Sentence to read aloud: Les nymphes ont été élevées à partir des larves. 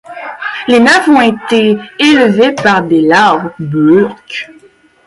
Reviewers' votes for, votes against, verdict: 0, 2, rejected